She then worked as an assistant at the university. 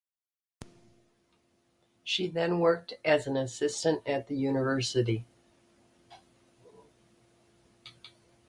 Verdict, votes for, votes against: accepted, 2, 0